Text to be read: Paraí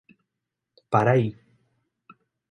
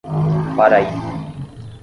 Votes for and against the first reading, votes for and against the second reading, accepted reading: 2, 0, 0, 5, first